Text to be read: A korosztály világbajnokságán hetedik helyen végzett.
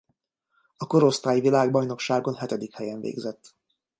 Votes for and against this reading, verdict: 0, 2, rejected